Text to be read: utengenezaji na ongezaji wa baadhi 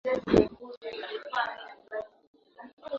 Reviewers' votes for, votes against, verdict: 1, 2, rejected